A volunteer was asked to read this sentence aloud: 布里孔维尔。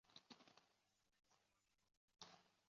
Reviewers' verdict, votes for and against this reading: rejected, 1, 6